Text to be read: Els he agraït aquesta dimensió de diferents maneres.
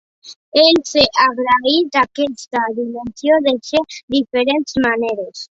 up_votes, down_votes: 0, 2